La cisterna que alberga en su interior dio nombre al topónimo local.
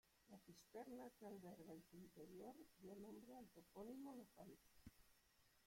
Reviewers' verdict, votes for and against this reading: rejected, 0, 2